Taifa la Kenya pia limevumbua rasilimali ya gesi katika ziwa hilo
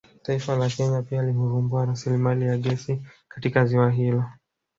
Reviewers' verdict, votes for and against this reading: rejected, 1, 2